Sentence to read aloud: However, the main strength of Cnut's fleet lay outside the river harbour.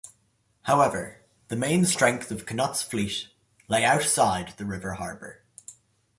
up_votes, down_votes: 2, 0